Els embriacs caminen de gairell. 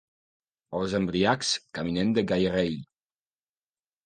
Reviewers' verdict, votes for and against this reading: rejected, 0, 2